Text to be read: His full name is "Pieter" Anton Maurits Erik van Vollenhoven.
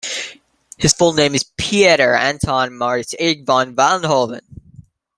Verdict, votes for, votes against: rejected, 1, 2